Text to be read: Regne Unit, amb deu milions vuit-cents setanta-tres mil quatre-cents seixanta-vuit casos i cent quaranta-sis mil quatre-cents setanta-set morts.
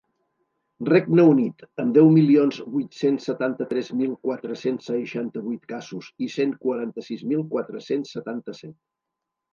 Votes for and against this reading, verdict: 2, 3, rejected